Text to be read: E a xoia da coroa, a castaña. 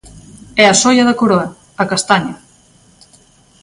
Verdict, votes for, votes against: accepted, 2, 0